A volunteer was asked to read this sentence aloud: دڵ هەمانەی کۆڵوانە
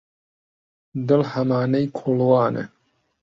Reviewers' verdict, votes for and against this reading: accepted, 2, 0